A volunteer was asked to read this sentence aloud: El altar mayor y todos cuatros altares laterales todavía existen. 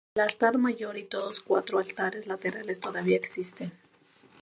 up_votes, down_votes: 0, 2